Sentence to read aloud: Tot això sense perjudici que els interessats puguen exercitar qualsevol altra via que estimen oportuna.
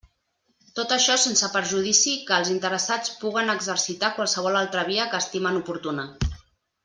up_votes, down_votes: 3, 0